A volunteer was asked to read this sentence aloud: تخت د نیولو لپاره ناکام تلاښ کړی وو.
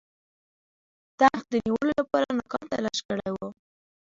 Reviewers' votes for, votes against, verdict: 2, 0, accepted